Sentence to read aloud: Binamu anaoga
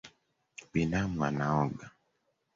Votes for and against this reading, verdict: 3, 1, accepted